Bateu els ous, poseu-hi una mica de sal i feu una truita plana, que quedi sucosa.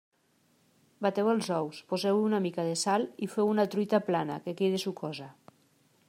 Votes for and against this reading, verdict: 2, 0, accepted